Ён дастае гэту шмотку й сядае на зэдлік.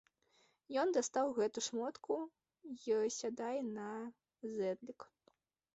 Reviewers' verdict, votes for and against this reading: rejected, 0, 2